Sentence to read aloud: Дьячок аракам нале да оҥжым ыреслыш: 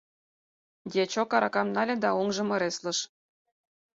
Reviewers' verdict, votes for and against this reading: accepted, 4, 0